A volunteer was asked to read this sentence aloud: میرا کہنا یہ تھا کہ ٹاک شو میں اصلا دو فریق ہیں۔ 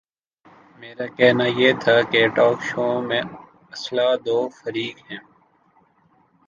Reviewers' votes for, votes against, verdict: 2, 0, accepted